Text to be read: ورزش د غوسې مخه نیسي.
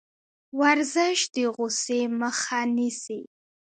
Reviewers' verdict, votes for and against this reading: accepted, 2, 0